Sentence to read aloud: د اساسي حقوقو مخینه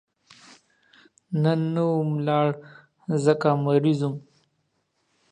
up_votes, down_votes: 1, 2